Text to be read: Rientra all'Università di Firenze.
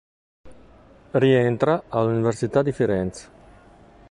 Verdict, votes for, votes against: accepted, 2, 0